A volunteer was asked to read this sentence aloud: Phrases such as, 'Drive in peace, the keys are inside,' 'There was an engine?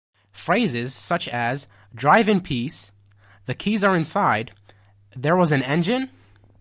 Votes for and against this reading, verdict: 2, 0, accepted